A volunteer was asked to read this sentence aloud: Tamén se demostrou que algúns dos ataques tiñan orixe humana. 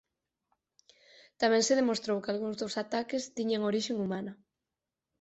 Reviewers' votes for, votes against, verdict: 0, 4, rejected